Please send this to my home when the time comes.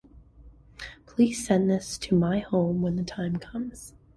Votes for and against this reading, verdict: 2, 0, accepted